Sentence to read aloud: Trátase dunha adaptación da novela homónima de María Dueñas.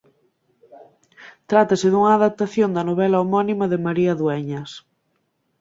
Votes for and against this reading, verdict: 2, 0, accepted